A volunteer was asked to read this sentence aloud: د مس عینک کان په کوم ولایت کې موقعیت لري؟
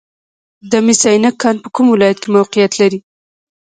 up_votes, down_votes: 0, 2